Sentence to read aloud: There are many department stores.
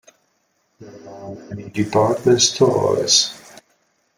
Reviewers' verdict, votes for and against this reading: rejected, 1, 2